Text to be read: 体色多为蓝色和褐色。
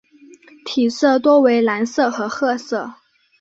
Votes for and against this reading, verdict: 3, 0, accepted